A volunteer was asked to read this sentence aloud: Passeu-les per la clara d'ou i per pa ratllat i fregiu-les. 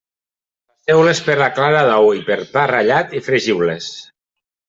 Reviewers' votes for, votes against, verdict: 0, 2, rejected